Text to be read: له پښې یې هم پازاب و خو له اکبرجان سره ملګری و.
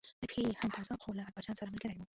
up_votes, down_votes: 1, 2